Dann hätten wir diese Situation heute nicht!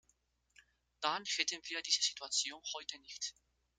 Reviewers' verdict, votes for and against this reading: rejected, 1, 2